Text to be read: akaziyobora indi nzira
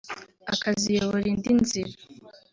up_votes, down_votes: 0, 2